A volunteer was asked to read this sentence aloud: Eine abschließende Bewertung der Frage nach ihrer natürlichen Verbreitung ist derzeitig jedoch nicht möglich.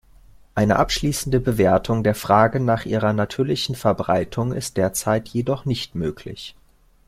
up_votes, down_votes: 2, 1